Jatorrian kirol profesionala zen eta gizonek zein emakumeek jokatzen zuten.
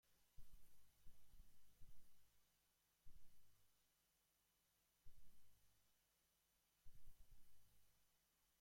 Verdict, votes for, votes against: rejected, 0, 2